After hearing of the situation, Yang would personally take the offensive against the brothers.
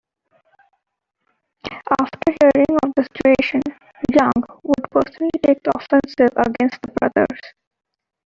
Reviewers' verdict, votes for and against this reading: accepted, 2, 1